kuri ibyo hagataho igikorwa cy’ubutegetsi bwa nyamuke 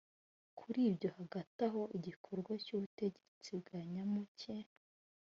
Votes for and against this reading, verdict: 2, 0, accepted